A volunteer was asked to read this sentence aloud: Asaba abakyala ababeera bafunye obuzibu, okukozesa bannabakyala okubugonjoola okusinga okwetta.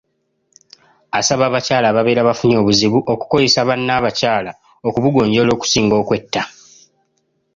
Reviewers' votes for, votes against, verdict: 3, 0, accepted